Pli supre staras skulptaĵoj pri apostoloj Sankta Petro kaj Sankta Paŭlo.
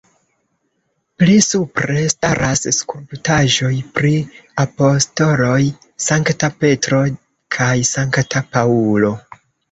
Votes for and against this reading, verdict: 0, 2, rejected